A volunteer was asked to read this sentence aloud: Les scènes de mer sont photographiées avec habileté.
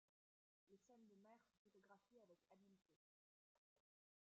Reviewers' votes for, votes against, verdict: 0, 2, rejected